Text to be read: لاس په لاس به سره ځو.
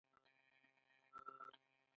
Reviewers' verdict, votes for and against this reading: accepted, 2, 1